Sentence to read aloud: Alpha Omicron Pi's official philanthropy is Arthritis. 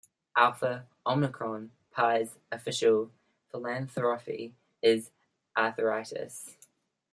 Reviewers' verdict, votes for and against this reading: accepted, 2, 0